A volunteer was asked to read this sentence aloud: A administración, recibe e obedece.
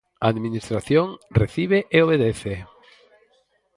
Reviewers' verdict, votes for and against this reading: accepted, 4, 0